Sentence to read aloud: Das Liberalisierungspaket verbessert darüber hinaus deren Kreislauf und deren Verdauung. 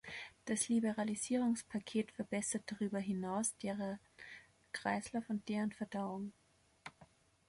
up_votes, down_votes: 0, 2